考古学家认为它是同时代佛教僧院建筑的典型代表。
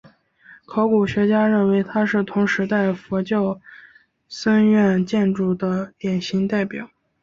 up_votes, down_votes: 0, 2